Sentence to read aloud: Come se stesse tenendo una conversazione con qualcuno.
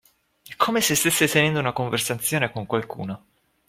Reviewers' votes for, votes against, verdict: 2, 1, accepted